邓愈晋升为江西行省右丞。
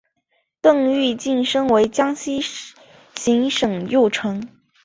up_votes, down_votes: 1, 2